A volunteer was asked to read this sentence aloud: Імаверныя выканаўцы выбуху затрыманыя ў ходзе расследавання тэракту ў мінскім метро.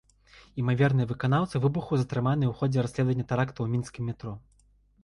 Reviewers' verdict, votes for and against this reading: accepted, 2, 0